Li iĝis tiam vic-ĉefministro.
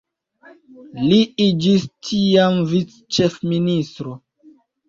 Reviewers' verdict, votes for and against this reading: accepted, 2, 0